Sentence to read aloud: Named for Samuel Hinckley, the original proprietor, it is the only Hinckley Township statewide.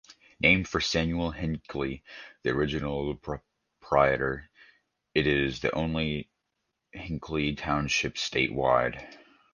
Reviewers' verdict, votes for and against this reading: accepted, 2, 0